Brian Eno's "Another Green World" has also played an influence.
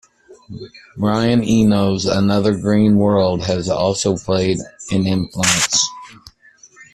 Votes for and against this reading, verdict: 2, 1, accepted